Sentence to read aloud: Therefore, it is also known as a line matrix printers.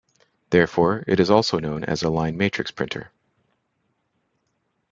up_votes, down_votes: 1, 2